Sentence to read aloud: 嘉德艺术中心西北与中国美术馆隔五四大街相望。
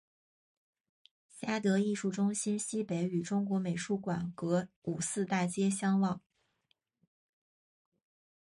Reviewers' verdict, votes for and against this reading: accepted, 2, 0